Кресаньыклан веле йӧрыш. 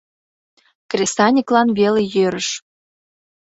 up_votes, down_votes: 2, 0